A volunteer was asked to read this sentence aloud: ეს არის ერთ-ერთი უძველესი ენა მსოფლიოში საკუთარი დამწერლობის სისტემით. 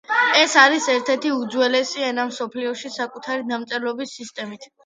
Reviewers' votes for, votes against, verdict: 2, 0, accepted